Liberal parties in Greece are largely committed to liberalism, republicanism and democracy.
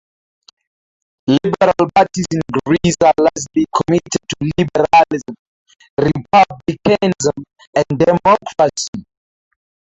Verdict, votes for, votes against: accepted, 2, 0